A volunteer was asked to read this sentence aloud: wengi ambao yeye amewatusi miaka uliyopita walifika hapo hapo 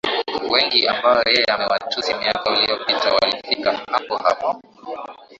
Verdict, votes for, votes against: accepted, 11, 2